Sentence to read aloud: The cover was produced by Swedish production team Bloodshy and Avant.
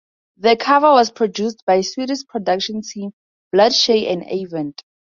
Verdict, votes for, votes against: accepted, 4, 0